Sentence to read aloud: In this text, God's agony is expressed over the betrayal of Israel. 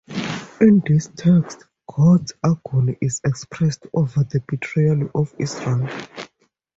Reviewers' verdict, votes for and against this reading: accepted, 2, 0